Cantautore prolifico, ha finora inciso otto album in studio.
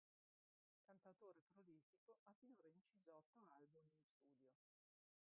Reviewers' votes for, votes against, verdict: 0, 2, rejected